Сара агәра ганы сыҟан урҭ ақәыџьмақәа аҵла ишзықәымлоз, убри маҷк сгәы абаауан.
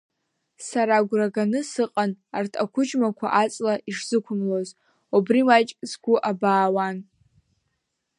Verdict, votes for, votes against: rejected, 0, 2